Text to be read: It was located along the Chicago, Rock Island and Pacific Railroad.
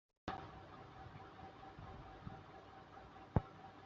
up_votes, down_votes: 1, 2